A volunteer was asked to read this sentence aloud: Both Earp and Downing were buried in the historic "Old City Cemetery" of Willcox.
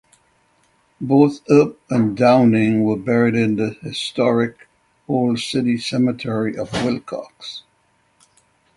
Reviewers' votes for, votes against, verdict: 6, 0, accepted